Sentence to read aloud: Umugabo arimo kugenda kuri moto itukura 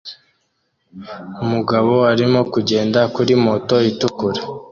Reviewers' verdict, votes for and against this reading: accepted, 2, 0